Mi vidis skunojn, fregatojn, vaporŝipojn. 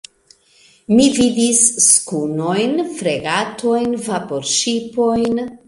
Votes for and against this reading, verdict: 2, 0, accepted